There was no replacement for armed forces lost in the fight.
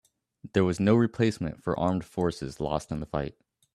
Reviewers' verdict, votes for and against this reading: accepted, 2, 0